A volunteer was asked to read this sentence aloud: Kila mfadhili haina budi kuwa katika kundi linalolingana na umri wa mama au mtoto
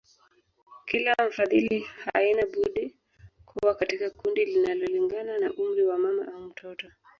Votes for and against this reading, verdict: 1, 2, rejected